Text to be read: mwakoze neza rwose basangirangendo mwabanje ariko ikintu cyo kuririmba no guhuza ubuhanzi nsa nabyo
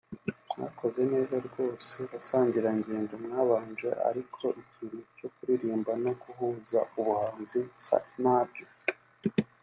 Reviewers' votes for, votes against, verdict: 2, 0, accepted